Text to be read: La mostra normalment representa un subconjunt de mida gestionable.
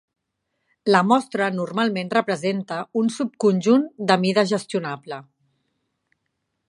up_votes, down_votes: 3, 0